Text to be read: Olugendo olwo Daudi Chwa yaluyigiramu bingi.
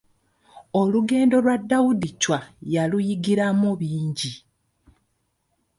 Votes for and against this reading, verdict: 0, 2, rejected